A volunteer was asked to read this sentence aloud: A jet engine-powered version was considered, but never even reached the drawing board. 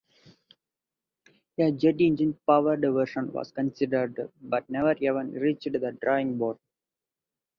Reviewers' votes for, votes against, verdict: 2, 2, rejected